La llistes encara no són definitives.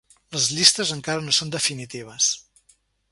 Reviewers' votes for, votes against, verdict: 3, 0, accepted